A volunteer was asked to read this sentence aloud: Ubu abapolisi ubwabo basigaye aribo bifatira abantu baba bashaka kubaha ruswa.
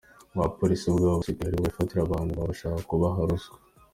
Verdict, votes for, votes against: accepted, 2, 0